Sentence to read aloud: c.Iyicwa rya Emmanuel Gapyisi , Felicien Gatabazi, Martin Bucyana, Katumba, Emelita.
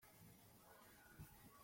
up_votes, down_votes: 0, 2